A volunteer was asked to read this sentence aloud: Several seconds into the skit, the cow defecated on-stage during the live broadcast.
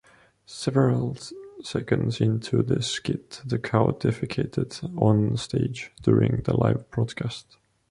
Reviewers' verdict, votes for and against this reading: rejected, 0, 2